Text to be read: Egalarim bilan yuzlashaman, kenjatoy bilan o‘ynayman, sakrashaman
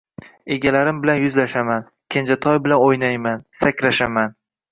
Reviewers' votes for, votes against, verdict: 2, 0, accepted